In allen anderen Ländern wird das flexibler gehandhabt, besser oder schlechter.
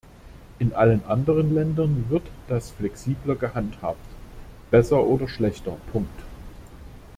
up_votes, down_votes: 0, 2